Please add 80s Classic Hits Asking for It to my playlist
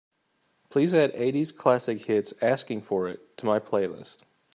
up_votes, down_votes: 0, 2